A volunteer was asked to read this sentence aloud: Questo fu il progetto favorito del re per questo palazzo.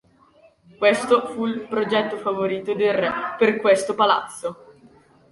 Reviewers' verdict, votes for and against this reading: rejected, 1, 2